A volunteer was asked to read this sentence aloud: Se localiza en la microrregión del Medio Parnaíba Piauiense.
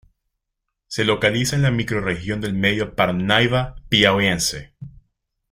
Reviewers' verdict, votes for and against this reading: accepted, 3, 0